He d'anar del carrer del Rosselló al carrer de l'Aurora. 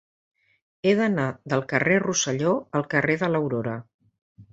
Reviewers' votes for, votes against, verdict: 0, 2, rejected